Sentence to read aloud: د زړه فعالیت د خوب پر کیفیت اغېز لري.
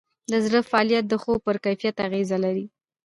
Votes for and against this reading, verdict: 2, 0, accepted